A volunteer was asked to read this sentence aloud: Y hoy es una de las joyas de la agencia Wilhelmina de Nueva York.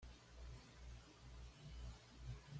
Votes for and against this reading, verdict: 1, 2, rejected